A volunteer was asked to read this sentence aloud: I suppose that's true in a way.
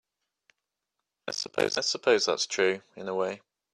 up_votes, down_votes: 1, 2